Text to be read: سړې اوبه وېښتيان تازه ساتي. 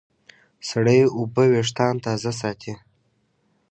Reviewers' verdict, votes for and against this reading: accepted, 2, 0